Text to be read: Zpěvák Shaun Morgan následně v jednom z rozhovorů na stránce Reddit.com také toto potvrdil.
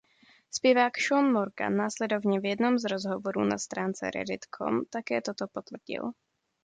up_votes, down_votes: 0, 2